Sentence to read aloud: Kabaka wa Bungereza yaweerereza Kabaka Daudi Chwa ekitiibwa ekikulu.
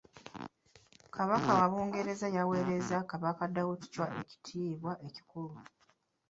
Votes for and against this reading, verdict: 1, 2, rejected